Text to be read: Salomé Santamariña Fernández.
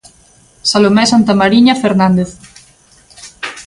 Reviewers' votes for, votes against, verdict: 2, 0, accepted